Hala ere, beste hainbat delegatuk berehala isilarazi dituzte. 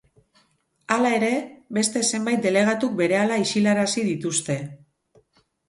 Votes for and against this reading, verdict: 0, 4, rejected